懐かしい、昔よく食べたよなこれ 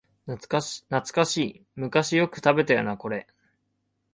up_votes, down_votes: 2, 1